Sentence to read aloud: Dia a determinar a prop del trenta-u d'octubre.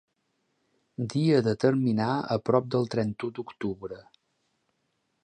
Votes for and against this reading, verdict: 0, 2, rejected